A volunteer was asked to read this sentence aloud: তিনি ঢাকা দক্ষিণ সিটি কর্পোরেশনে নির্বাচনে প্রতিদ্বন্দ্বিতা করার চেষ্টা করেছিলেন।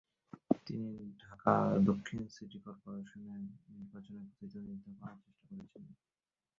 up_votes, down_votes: 0, 2